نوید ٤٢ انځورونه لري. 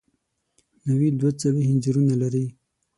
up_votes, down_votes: 0, 2